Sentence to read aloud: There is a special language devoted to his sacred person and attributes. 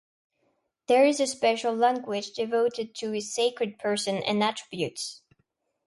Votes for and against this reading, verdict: 2, 1, accepted